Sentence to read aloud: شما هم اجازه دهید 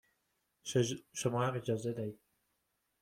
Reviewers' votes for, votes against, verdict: 0, 2, rejected